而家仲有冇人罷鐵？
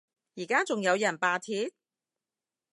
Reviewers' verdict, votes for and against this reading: rejected, 0, 2